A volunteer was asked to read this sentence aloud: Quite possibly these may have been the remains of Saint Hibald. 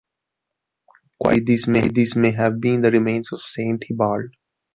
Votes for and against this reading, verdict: 0, 3, rejected